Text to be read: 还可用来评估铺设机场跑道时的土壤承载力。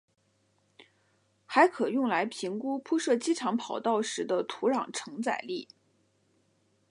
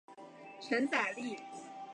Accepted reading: first